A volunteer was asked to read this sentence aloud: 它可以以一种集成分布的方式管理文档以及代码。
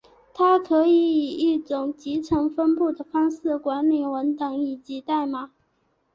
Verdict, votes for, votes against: accepted, 3, 0